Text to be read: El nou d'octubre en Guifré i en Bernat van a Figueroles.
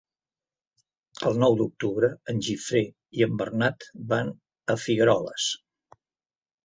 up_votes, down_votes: 0, 2